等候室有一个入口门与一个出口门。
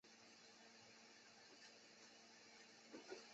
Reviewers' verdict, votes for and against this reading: rejected, 0, 2